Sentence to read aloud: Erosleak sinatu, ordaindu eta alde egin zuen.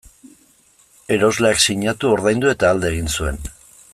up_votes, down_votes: 2, 0